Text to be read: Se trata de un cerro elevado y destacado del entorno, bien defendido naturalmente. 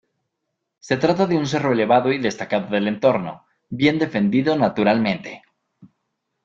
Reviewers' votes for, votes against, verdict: 2, 1, accepted